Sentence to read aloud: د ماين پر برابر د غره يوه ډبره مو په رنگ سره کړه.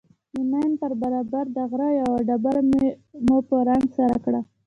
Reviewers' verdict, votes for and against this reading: rejected, 0, 2